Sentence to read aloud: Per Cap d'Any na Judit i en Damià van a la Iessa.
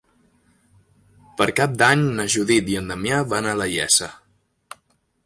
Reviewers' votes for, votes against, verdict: 2, 0, accepted